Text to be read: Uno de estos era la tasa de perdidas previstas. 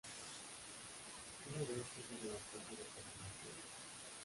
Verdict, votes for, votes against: rejected, 0, 2